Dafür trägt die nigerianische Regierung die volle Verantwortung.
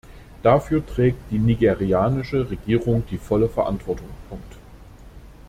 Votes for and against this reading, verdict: 0, 2, rejected